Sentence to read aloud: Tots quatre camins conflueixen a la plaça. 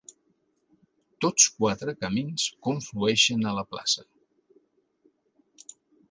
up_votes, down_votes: 3, 0